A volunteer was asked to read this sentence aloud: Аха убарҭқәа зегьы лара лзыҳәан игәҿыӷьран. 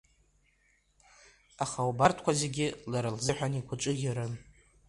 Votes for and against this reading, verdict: 1, 2, rejected